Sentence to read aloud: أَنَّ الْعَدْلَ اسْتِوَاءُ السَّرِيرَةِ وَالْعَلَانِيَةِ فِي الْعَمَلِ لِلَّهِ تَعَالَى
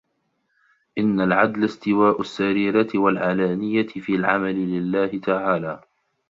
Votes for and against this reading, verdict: 0, 2, rejected